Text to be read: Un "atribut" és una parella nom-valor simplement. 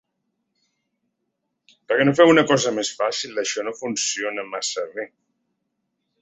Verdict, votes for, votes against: rejected, 0, 2